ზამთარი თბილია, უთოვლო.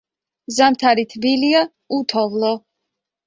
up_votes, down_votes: 3, 0